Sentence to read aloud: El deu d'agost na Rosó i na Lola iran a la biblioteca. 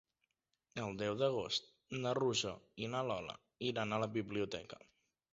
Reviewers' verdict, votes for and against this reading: accepted, 2, 0